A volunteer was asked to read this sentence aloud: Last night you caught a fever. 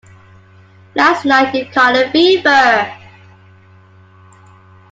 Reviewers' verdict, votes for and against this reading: accepted, 2, 0